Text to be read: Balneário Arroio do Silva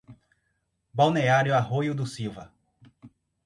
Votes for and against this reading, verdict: 4, 0, accepted